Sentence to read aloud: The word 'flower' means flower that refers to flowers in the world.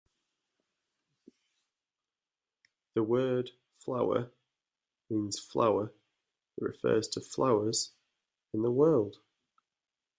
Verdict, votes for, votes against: accepted, 2, 0